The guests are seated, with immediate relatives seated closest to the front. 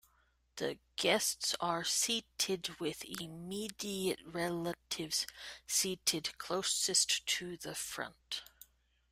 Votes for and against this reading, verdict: 1, 2, rejected